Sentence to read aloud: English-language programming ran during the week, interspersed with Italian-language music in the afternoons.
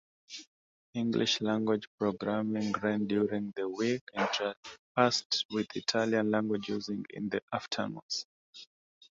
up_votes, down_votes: 0, 2